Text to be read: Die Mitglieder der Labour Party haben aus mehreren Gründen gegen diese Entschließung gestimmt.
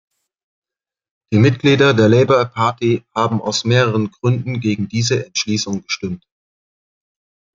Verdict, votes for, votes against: rejected, 1, 2